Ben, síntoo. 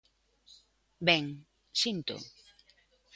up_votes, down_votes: 2, 0